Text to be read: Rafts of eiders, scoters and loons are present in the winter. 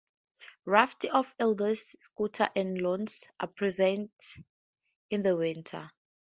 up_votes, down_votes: 0, 2